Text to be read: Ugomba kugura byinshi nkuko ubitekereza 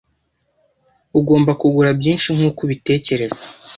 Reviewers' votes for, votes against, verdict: 2, 0, accepted